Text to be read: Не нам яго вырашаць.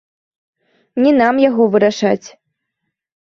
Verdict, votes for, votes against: rejected, 1, 2